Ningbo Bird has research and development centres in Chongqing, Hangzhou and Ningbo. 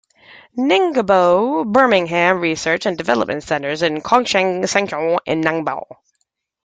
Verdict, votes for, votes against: rejected, 0, 2